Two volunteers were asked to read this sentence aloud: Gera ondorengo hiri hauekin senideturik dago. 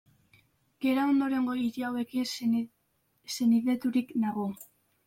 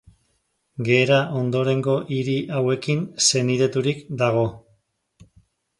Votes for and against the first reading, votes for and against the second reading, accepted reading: 1, 2, 2, 0, second